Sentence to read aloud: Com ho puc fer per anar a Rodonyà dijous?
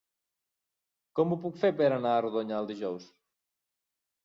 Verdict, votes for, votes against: rejected, 0, 2